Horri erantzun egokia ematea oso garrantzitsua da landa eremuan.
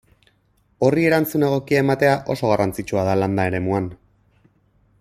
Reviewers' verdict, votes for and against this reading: accepted, 4, 0